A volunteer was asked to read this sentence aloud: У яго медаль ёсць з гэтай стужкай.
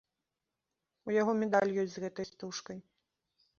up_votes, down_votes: 2, 0